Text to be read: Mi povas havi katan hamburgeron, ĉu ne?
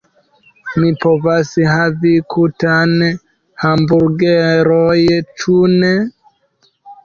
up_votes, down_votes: 0, 2